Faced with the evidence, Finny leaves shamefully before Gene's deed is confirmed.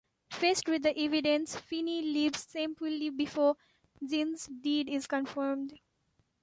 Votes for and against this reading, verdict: 0, 2, rejected